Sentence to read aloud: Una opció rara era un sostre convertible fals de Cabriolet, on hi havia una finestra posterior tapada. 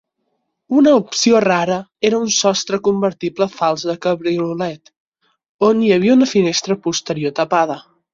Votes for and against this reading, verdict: 6, 0, accepted